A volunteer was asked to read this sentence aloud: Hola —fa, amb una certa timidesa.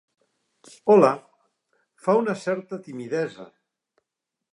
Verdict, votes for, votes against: rejected, 1, 2